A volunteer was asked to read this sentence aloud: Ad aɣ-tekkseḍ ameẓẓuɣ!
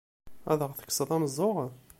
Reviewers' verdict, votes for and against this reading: accepted, 2, 0